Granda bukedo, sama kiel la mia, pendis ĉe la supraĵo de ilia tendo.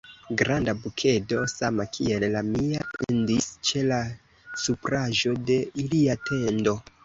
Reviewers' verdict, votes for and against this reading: accepted, 2, 1